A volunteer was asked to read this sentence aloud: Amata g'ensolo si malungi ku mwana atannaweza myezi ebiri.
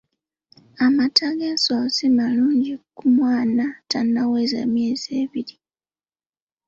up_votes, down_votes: 2, 3